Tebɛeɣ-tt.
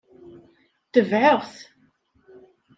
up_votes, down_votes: 0, 2